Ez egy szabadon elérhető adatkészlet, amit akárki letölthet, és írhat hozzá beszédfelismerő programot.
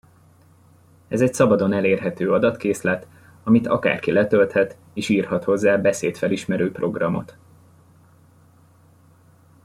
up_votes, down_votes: 2, 0